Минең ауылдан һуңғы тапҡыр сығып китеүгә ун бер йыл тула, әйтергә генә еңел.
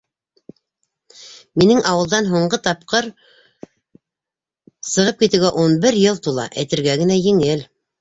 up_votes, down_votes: 1, 2